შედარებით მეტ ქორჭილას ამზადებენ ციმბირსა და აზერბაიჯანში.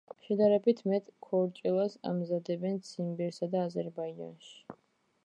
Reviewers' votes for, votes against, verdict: 2, 0, accepted